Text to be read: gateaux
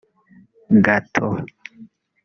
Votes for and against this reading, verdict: 2, 1, accepted